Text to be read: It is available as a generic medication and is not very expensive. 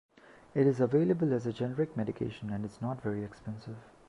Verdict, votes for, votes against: accepted, 2, 0